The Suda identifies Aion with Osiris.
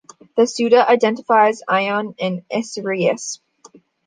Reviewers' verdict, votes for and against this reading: rejected, 0, 2